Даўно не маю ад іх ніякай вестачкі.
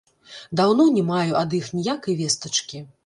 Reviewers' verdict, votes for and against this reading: rejected, 0, 2